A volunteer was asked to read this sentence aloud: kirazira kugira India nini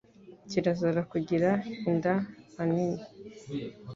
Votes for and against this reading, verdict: 1, 2, rejected